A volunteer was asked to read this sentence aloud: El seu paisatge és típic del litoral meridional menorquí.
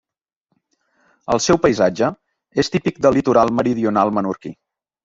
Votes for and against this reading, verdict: 2, 0, accepted